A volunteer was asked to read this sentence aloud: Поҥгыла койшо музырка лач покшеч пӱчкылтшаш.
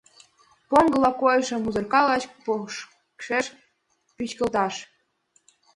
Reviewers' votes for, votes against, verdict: 1, 2, rejected